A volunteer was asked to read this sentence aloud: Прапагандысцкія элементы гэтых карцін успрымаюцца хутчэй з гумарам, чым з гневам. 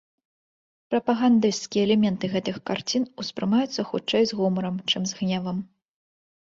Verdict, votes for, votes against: accepted, 2, 0